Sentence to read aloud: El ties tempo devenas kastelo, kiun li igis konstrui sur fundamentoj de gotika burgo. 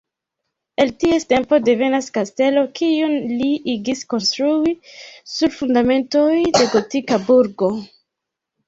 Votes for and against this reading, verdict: 1, 2, rejected